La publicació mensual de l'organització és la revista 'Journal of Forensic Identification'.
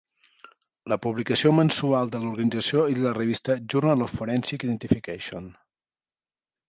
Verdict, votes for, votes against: rejected, 0, 2